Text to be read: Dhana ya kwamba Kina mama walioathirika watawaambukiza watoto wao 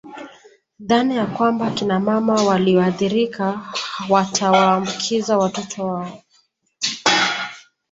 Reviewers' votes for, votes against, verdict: 2, 0, accepted